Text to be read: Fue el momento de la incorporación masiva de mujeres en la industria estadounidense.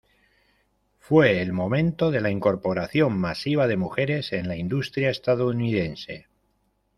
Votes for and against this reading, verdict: 2, 1, accepted